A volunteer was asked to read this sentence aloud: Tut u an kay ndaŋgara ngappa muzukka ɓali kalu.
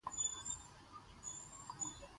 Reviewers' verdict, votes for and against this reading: rejected, 0, 2